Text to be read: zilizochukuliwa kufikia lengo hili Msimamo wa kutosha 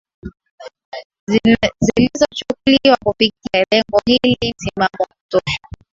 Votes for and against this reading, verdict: 1, 2, rejected